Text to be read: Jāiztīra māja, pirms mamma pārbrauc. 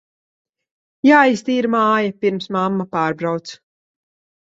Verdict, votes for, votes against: accepted, 2, 0